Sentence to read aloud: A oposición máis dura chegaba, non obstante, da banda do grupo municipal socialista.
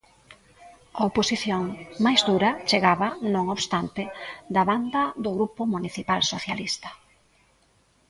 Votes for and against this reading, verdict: 1, 2, rejected